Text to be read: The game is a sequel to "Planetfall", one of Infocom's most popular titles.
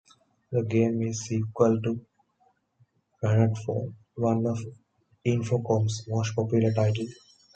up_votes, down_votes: 2, 1